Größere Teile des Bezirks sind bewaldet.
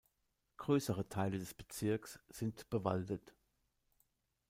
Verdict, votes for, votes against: accepted, 2, 0